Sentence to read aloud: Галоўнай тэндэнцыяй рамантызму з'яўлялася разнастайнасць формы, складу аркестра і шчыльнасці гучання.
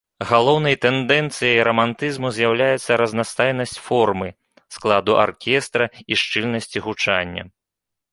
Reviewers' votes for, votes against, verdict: 0, 2, rejected